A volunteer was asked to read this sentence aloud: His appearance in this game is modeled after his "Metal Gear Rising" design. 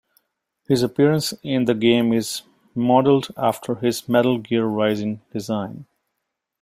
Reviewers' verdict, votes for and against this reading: rejected, 0, 2